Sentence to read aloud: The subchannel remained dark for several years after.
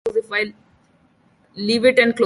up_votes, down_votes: 0, 2